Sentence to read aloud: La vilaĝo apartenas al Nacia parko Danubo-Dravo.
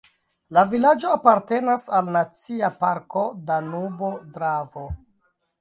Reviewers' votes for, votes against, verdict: 0, 2, rejected